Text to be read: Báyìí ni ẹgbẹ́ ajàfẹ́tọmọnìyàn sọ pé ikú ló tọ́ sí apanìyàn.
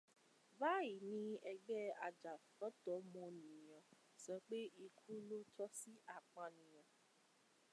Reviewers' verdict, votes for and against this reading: accepted, 2, 0